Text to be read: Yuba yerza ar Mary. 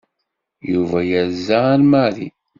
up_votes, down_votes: 2, 0